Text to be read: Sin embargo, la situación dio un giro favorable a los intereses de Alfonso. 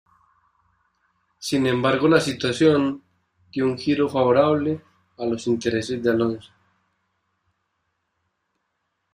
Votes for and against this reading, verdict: 1, 2, rejected